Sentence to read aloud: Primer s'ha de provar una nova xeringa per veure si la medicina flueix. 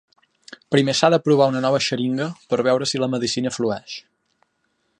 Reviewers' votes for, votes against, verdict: 3, 0, accepted